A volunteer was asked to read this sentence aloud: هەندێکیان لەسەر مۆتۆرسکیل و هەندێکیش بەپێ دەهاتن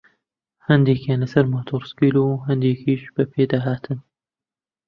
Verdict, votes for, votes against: accepted, 2, 1